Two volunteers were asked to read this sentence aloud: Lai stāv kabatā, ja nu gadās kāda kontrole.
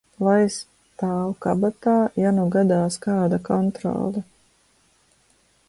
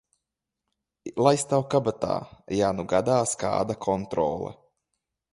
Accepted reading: second